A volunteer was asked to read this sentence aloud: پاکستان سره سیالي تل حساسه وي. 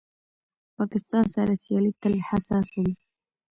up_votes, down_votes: 1, 2